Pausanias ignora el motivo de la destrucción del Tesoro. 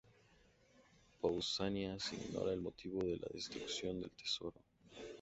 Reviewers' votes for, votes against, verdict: 2, 0, accepted